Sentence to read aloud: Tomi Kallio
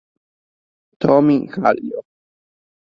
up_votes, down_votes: 1, 2